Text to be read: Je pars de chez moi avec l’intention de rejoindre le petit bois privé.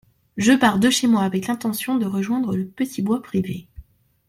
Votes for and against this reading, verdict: 2, 0, accepted